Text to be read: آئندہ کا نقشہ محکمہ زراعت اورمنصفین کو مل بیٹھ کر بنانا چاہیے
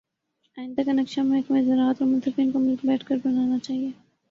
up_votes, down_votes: 0, 2